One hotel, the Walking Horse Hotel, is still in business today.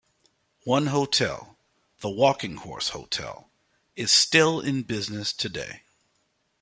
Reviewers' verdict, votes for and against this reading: accepted, 2, 0